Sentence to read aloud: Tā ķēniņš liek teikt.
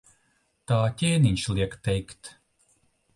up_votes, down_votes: 2, 0